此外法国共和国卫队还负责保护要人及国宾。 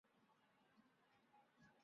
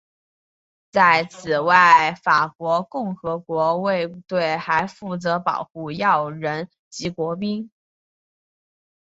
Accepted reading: first